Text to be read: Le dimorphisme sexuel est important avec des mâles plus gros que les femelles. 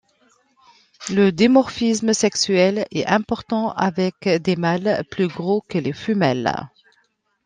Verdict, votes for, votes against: rejected, 1, 2